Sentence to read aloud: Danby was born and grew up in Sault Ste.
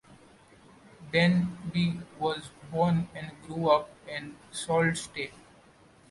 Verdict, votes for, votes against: accepted, 2, 0